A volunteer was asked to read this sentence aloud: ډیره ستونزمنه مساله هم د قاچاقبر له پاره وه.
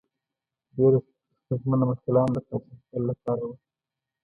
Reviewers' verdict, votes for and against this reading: accepted, 2, 0